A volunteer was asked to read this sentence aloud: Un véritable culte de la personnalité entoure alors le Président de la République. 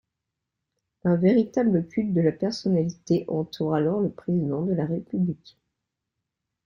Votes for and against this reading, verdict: 2, 0, accepted